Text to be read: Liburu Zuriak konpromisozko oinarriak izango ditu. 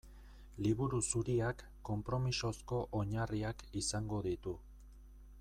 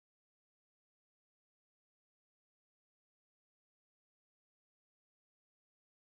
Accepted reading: first